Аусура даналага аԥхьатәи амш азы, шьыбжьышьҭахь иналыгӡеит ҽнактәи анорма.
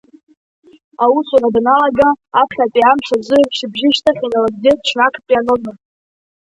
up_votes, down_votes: 1, 2